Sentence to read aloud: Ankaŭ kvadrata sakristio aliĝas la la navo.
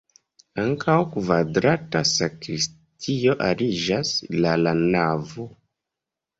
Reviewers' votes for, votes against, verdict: 1, 2, rejected